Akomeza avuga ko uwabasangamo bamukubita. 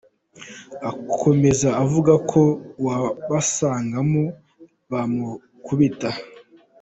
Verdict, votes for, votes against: accepted, 2, 0